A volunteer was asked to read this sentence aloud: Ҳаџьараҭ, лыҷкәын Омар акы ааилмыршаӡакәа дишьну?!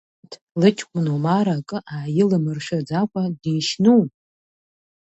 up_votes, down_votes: 0, 2